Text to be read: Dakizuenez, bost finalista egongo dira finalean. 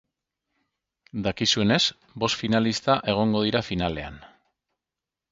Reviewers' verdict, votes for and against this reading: accepted, 4, 0